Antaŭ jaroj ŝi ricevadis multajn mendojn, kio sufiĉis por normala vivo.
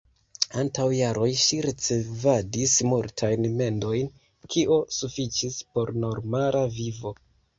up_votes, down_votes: 0, 2